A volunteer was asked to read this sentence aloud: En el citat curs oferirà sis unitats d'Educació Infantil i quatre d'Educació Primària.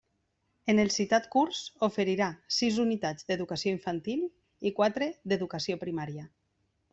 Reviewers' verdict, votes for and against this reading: accepted, 2, 0